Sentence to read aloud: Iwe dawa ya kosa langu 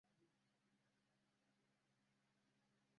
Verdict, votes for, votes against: rejected, 0, 2